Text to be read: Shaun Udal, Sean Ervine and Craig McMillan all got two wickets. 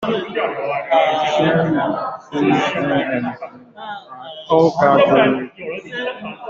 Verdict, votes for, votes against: rejected, 0, 2